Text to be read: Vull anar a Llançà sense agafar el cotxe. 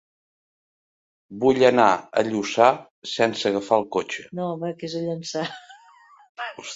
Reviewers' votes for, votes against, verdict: 0, 2, rejected